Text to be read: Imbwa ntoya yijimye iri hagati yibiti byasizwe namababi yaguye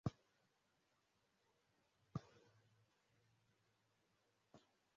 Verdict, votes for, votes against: rejected, 0, 2